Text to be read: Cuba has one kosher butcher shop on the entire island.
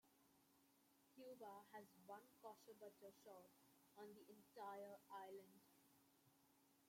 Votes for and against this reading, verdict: 0, 2, rejected